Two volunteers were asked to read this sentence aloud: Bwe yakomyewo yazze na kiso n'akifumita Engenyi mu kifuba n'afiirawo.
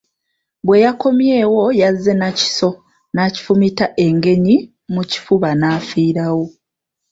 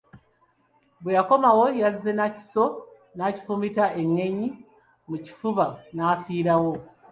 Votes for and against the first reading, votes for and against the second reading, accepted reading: 2, 0, 1, 3, first